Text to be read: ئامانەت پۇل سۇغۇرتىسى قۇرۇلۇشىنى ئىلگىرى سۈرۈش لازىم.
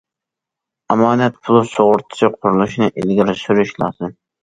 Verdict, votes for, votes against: accepted, 2, 0